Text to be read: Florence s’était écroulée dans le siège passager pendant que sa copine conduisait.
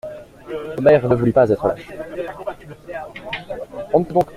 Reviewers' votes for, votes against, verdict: 0, 2, rejected